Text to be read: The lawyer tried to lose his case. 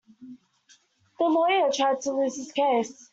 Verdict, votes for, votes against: accepted, 2, 0